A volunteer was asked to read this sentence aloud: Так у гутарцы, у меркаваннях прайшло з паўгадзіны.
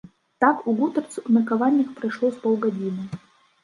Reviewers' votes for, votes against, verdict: 1, 2, rejected